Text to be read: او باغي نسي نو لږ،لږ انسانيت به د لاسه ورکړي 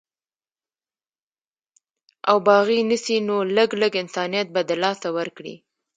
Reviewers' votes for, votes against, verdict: 1, 2, rejected